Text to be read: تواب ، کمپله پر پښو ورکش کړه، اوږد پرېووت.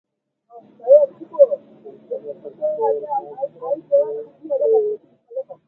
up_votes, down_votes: 0, 3